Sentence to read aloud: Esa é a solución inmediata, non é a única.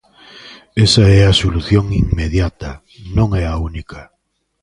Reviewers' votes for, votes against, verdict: 2, 0, accepted